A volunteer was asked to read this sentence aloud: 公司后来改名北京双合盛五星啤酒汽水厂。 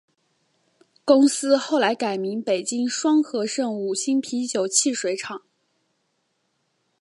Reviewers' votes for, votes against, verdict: 4, 0, accepted